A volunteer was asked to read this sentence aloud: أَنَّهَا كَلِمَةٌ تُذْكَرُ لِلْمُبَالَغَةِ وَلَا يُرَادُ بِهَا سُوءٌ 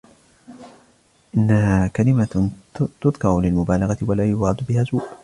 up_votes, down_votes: 2, 0